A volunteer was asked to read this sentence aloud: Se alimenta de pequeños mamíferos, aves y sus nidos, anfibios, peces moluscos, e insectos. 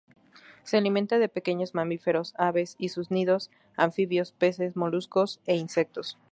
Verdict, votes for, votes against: accepted, 2, 0